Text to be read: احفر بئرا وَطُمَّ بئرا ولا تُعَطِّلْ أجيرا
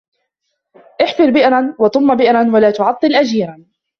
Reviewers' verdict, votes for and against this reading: rejected, 0, 2